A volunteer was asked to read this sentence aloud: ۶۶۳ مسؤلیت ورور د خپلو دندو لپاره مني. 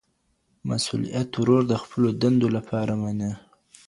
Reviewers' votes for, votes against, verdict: 0, 2, rejected